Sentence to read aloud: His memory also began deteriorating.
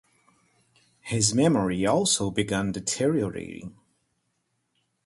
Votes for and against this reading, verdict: 4, 0, accepted